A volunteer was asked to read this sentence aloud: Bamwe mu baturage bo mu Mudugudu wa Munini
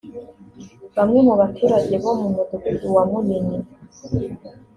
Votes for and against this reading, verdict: 2, 0, accepted